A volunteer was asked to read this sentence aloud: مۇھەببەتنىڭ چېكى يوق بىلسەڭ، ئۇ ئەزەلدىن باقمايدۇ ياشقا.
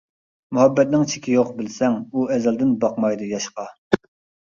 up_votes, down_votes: 2, 0